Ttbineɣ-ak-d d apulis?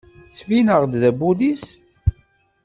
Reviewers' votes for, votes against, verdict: 1, 2, rejected